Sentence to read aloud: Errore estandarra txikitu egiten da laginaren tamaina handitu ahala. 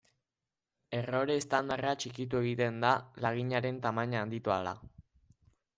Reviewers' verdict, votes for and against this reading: accepted, 2, 1